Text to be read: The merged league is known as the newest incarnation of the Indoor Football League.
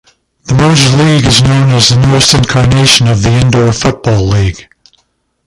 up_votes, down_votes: 1, 4